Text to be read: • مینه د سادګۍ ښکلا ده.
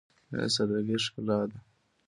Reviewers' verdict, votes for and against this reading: accepted, 2, 1